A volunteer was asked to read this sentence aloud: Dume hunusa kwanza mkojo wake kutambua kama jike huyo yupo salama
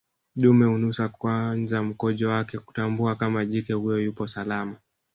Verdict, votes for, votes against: rejected, 1, 2